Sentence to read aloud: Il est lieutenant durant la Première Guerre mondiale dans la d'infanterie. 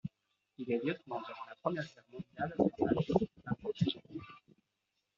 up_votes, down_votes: 0, 2